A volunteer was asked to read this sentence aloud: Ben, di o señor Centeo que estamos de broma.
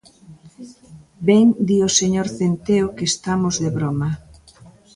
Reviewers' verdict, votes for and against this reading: rejected, 1, 2